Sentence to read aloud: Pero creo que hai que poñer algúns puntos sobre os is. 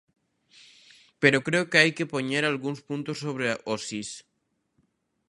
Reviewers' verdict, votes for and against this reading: rejected, 0, 2